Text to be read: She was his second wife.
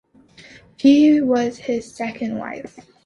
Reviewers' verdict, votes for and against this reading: rejected, 0, 2